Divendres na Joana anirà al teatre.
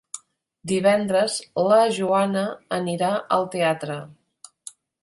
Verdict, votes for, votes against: rejected, 0, 2